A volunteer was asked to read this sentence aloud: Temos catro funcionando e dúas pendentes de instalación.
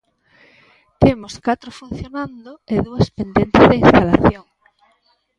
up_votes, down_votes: 1, 2